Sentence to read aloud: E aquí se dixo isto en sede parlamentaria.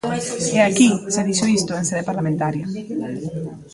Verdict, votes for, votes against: accepted, 2, 0